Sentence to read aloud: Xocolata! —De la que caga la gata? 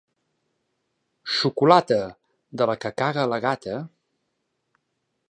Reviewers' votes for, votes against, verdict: 2, 0, accepted